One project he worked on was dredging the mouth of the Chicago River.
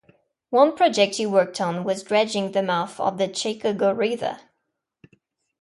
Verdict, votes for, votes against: rejected, 0, 2